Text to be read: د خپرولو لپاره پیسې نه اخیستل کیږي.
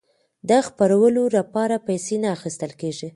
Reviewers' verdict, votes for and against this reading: accepted, 2, 0